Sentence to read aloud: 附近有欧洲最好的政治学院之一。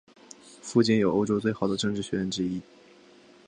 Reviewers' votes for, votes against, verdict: 5, 0, accepted